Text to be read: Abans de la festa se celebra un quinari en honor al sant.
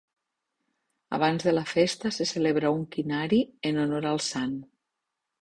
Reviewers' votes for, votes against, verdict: 2, 0, accepted